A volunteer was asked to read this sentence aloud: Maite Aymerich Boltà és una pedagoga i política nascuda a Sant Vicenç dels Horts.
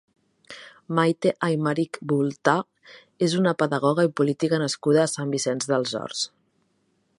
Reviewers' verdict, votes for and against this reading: accepted, 2, 0